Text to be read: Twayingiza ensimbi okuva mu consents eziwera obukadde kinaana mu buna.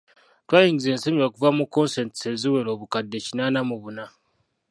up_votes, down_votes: 1, 2